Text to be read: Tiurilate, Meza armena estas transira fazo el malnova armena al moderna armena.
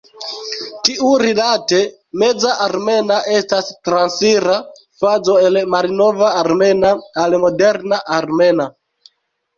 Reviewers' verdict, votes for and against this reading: rejected, 0, 2